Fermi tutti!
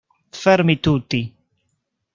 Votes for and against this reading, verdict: 1, 2, rejected